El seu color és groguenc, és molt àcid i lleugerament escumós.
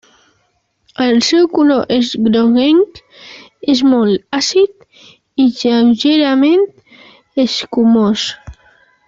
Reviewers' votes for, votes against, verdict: 1, 2, rejected